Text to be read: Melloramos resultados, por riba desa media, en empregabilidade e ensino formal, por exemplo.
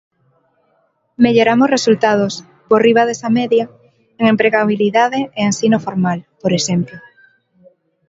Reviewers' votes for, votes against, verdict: 2, 0, accepted